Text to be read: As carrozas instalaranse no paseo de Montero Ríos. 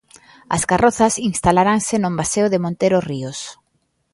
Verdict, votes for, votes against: rejected, 1, 2